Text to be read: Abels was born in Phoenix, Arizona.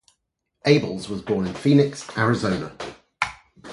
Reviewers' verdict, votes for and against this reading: accepted, 4, 0